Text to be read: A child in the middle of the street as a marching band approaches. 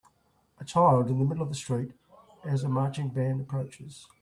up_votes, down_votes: 2, 0